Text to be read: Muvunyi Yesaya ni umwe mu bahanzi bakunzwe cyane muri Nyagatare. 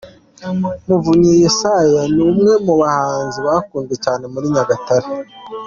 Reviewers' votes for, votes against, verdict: 2, 0, accepted